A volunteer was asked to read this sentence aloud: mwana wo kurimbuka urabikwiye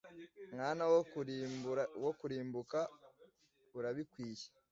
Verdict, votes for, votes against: rejected, 1, 2